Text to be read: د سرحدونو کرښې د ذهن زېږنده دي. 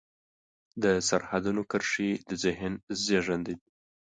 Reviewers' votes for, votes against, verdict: 2, 0, accepted